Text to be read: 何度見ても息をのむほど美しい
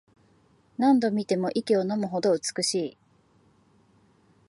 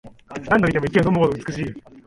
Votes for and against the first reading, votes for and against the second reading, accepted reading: 2, 0, 1, 2, first